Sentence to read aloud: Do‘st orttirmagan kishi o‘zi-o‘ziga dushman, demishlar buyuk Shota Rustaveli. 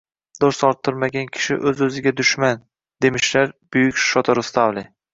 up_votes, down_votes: 2, 0